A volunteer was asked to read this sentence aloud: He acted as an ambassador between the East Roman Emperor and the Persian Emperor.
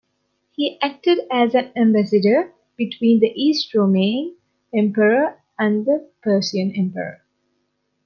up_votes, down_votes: 3, 2